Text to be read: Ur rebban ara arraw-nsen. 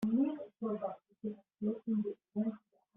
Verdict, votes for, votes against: rejected, 0, 2